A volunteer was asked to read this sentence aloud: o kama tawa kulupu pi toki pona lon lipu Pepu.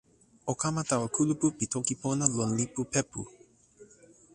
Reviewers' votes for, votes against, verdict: 1, 2, rejected